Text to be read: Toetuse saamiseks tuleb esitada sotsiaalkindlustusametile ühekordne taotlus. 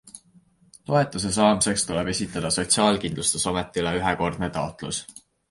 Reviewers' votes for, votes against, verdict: 2, 0, accepted